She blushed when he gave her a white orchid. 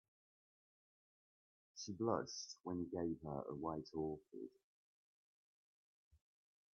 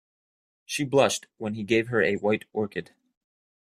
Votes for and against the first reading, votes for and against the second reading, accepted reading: 1, 2, 2, 0, second